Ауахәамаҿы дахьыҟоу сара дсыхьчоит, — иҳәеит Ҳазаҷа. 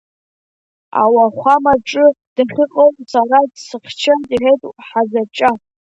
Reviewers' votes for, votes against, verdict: 2, 0, accepted